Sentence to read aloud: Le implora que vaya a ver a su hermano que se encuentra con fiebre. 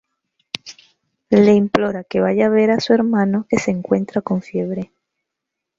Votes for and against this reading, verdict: 1, 2, rejected